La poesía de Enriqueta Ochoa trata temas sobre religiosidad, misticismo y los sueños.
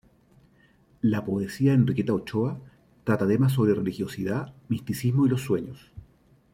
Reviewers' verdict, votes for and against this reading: accepted, 2, 1